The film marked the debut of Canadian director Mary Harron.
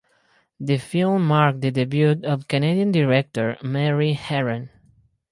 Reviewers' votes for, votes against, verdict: 4, 0, accepted